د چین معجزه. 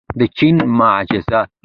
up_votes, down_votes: 1, 2